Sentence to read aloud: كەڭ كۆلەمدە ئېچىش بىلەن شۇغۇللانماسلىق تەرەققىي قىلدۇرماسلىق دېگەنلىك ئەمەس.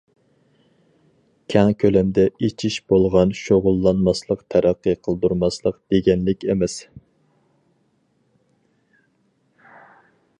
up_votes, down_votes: 0, 2